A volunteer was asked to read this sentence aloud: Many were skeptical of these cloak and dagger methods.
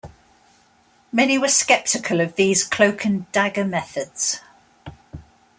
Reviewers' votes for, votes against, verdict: 2, 0, accepted